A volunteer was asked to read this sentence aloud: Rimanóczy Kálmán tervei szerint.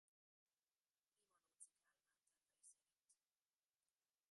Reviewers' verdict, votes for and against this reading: rejected, 0, 2